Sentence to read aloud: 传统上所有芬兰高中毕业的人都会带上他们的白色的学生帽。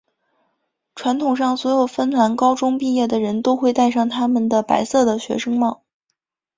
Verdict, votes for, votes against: accepted, 2, 1